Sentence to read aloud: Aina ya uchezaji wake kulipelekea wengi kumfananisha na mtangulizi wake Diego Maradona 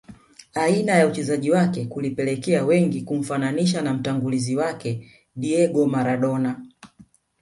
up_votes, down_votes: 4, 0